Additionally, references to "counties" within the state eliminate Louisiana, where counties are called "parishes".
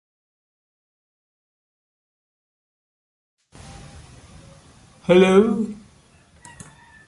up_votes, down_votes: 0, 2